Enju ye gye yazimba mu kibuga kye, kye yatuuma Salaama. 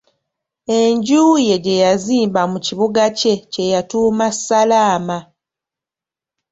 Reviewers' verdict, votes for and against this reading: accepted, 3, 1